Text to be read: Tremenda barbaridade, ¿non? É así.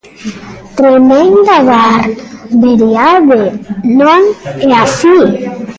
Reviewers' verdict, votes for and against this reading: rejected, 0, 2